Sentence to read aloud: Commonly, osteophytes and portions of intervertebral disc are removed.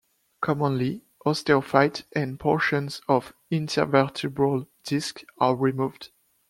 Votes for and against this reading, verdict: 1, 2, rejected